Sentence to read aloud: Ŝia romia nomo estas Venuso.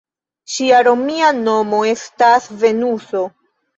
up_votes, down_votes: 1, 2